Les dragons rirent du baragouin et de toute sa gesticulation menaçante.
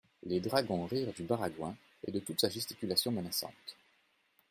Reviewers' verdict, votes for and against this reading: accepted, 2, 1